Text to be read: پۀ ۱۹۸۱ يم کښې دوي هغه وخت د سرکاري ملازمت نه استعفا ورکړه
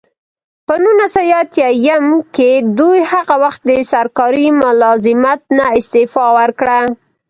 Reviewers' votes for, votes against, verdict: 0, 2, rejected